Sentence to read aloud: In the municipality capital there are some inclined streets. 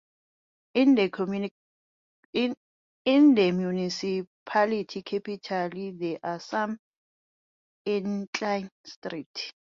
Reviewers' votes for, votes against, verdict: 0, 2, rejected